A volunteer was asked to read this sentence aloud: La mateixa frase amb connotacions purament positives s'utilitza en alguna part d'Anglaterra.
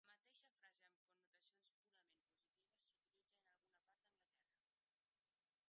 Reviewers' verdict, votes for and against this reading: rejected, 1, 2